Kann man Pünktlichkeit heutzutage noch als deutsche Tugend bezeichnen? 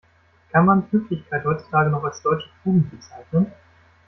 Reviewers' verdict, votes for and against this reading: accepted, 2, 0